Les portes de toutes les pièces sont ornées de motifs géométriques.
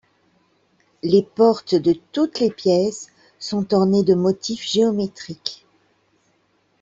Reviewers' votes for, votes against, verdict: 2, 0, accepted